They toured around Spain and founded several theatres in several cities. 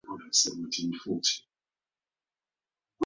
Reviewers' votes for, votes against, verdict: 0, 2, rejected